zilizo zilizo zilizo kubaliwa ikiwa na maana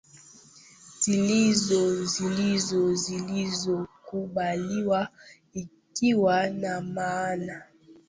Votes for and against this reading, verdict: 2, 0, accepted